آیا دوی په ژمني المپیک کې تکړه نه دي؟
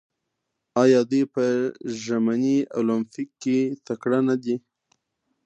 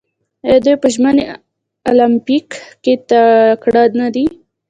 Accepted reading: first